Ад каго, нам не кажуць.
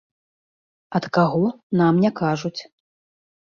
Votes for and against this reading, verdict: 2, 0, accepted